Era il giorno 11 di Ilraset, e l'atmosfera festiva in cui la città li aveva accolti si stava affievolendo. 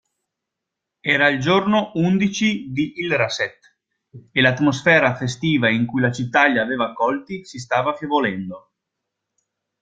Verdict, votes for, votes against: rejected, 0, 2